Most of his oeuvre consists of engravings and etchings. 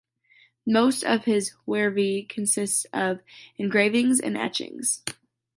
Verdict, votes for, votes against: rejected, 1, 2